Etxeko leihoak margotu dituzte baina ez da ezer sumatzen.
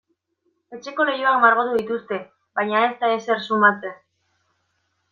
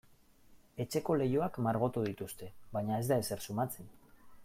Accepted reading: second